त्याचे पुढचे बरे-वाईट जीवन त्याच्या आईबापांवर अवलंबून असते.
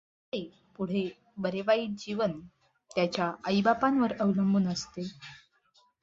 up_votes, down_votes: 1, 2